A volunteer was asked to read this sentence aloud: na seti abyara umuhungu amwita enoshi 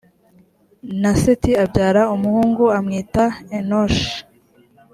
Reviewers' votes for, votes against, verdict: 2, 0, accepted